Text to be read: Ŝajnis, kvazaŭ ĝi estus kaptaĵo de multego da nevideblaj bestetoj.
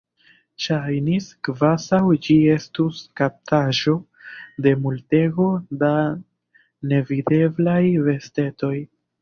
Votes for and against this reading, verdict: 0, 2, rejected